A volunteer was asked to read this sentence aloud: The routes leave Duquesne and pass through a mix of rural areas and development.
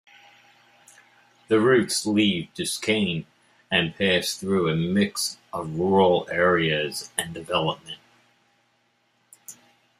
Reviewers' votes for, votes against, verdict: 1, 2, rejected